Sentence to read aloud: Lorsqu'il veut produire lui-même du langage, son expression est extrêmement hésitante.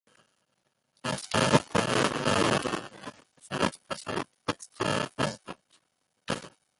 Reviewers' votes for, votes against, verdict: 0, 2, rejected